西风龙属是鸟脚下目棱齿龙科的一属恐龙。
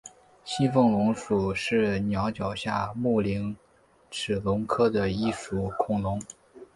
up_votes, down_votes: 3, 0